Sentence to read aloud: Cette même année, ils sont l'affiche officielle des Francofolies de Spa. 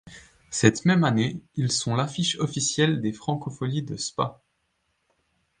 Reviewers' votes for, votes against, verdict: 2, 0, accepted